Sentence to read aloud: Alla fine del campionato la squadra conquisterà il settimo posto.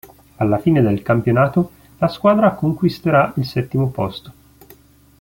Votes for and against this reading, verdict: 2, 0, accepted